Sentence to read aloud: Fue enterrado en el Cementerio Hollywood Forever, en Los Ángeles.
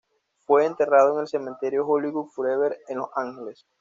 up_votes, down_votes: 2, 0